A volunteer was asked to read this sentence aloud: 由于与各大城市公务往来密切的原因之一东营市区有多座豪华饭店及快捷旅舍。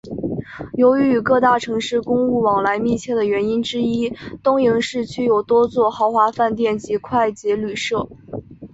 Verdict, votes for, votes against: accepted, 10, 0